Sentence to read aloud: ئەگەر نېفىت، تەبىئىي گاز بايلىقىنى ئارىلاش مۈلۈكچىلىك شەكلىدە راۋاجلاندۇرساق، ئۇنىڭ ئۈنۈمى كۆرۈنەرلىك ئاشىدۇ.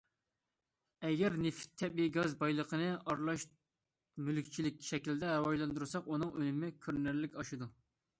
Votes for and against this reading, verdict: 2, 0, accepted